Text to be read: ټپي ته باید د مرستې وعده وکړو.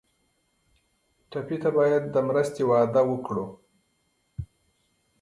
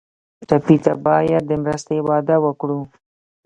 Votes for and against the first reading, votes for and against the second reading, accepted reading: 3, 0, 0, 2, first